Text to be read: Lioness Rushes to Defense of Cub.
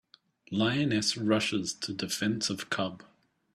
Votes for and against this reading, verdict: 3, 0, accepted